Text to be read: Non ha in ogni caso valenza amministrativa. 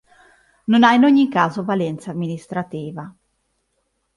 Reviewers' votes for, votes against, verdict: 3, 0, accepted